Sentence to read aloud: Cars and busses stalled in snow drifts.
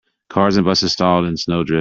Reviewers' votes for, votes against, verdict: 1, 2, rejected